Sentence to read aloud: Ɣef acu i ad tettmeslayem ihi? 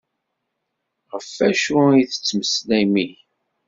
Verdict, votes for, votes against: accepted, 2, 0